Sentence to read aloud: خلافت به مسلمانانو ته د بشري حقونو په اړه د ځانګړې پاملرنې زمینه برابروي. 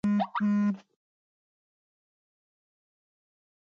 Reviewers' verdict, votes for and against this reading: rejected, 1, 2